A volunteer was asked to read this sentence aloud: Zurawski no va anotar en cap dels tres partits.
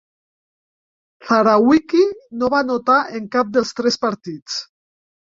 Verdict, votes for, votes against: rejected, 1, 2